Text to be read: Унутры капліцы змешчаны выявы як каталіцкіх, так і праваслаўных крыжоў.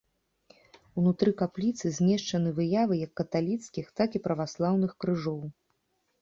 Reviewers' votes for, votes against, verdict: 3, 0, accepted